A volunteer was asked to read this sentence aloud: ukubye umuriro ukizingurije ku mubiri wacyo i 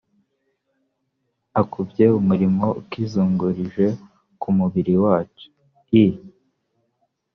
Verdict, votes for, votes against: rejected, 0, 2